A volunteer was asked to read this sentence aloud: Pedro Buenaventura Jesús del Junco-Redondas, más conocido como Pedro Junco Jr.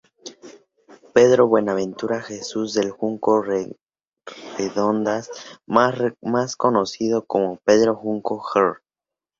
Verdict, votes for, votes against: rejected, 0, 2